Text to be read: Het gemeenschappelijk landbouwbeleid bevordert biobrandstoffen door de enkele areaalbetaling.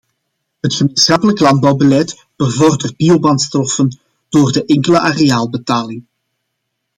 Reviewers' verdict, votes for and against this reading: accepted, 2, 1